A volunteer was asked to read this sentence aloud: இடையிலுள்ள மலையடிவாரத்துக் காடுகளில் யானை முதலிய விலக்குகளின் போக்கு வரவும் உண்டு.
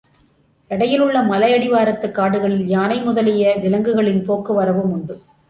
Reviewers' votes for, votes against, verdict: 2, 0, accepted